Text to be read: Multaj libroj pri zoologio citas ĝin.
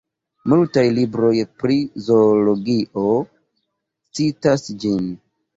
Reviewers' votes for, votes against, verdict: 2, 0, accepted